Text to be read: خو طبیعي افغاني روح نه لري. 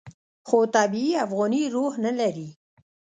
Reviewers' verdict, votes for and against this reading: rejected, 1, 2